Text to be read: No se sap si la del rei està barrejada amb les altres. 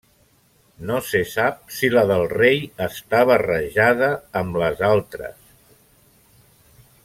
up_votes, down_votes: 0, 2